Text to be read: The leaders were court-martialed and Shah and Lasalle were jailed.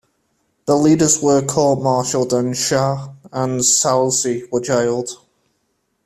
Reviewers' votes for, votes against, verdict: 0, 2, rejected